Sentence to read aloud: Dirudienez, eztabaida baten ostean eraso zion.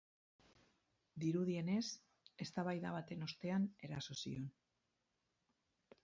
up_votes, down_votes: 4, 2